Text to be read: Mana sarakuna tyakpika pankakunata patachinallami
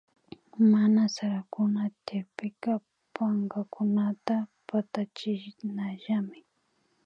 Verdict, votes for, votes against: rejected, 1, 2